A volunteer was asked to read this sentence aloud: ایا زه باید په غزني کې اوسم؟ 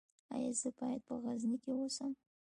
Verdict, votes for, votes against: accepted, 2, 0